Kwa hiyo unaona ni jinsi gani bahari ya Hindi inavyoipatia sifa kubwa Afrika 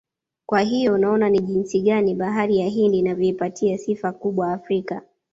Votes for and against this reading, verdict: 2, 1, accepted